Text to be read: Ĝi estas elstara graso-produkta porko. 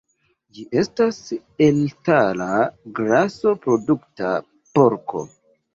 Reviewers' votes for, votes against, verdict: 0, 2, rejected